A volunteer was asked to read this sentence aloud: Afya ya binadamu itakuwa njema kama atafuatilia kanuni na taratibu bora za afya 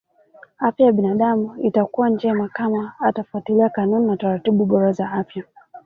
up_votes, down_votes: 1, 2